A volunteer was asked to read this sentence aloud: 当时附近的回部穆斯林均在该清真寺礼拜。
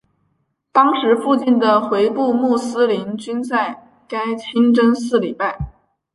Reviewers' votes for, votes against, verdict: 5, 1, accepted